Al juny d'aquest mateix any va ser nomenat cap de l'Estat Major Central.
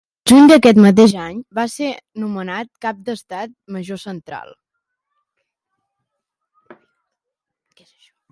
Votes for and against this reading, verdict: 0, 2, rejected